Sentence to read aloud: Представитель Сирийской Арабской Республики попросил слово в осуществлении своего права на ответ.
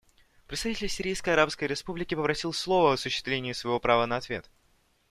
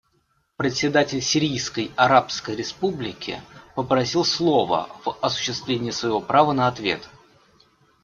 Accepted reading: first